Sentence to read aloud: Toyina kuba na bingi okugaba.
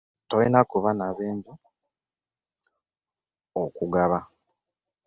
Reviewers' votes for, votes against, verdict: 1, 2, rejected